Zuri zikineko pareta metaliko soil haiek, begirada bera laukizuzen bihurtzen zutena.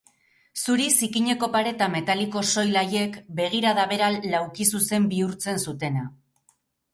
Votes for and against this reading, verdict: 2, 2, rejected